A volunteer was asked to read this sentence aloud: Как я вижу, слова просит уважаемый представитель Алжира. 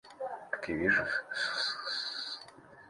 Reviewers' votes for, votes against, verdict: 0, 2, rejected